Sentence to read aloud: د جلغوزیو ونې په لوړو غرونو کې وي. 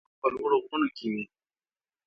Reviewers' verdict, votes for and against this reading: rejected, 1, 2